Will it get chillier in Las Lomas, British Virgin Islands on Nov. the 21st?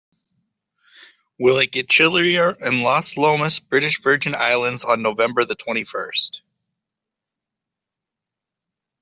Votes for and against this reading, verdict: 0, 2, rejected